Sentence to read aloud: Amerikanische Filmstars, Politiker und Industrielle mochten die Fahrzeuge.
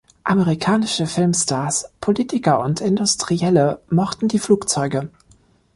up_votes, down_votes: 0, 2